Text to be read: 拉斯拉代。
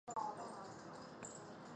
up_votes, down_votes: 0, 2